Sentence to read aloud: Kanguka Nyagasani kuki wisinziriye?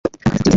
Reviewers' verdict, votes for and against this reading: rejected, 1, 2